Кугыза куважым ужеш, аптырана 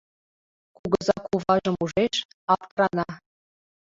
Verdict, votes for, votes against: rejected, 0, 2